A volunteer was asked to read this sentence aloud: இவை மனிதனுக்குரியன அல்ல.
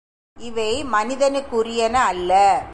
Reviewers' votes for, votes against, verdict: 2, 0, accepted